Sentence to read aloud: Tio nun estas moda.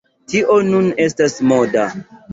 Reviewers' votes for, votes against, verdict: 2, 0, accepted